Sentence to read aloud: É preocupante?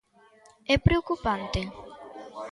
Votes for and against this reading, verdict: 2, 0, accepted